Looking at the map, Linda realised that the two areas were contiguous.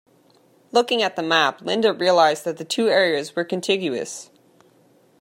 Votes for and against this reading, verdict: 2, 1, accepted